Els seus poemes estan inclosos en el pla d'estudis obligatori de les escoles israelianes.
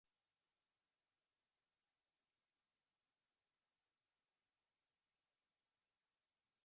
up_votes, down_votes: 1, 2